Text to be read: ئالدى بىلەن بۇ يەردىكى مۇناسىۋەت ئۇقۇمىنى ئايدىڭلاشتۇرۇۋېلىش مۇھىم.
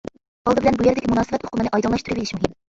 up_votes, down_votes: 0, 2